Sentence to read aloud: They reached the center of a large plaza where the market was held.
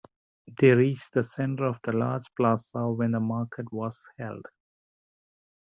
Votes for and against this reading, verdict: 1, 2, rejected